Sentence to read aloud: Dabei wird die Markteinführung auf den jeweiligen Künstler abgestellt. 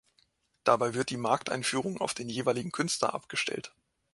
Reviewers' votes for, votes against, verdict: 2, 0, accepted